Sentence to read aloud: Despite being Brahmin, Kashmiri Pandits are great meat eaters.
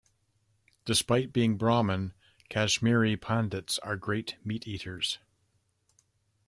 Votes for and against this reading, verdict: 2, 0, accepted